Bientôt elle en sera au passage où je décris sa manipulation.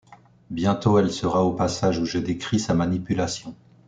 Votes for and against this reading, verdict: 0, 2, rejected